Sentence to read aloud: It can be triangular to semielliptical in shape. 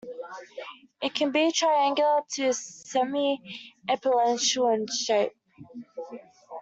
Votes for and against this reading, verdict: 0, 2, rejected